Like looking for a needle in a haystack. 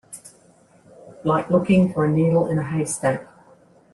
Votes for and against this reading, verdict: 2, 0, accepted